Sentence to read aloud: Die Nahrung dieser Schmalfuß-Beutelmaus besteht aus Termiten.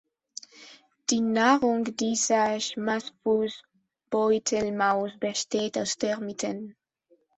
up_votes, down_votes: 0, 2